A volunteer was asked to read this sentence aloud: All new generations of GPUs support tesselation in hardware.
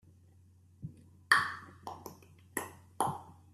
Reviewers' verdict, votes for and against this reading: rejected, 0, 2